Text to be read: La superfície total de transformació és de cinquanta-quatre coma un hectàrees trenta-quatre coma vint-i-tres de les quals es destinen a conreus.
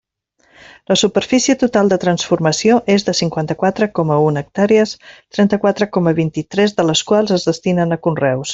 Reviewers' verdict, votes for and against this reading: accepted, 3, 0